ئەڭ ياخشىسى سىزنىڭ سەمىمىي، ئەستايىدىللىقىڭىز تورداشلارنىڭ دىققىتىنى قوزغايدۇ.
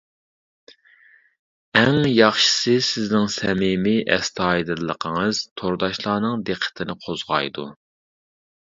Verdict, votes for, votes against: accepted, 2, 0